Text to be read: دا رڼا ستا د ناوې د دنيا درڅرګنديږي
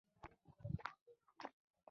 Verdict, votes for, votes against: rejected, 0, 2